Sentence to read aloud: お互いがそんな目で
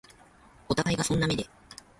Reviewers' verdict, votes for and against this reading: rejected, 1, 2